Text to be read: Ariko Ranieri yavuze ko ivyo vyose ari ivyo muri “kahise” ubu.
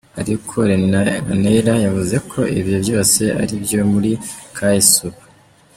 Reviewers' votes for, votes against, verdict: 0, 2, rejected